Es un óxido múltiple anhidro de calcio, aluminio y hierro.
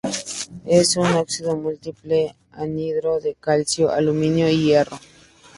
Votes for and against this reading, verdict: 2, 0, accepted